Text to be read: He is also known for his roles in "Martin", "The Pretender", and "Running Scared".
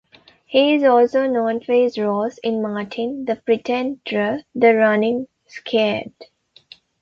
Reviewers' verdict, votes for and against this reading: rejected, 0, 2